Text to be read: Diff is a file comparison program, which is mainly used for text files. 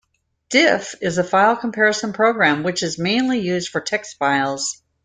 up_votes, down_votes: 2, 0